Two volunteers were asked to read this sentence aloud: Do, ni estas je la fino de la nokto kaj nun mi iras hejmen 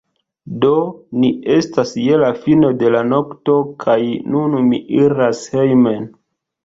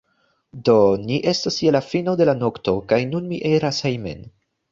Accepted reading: first